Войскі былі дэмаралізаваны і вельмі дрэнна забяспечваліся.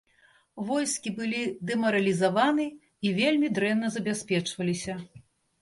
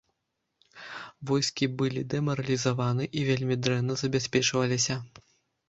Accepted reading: first